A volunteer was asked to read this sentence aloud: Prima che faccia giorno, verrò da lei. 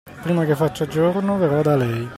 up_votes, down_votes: 2, 1